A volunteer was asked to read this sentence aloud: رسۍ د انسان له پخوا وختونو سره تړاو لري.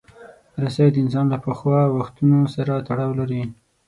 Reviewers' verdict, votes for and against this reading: accepted, 6, 0